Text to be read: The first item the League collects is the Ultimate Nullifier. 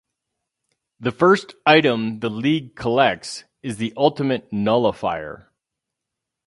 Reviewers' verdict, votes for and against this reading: rejected, 2, 2